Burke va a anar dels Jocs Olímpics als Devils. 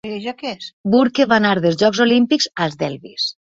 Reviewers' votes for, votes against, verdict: 1, 2, rejected